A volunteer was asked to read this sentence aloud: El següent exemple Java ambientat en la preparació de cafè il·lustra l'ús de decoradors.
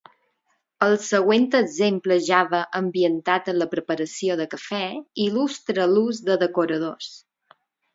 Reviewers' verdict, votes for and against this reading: accepted, 4, 0